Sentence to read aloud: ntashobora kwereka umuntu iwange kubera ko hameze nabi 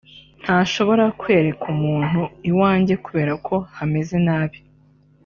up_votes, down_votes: 2, 0